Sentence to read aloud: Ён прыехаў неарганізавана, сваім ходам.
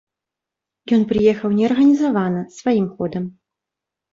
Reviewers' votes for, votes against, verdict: 3, 0, accepted